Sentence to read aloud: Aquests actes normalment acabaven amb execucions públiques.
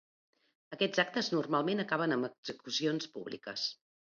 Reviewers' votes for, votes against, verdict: 0, 2, rejected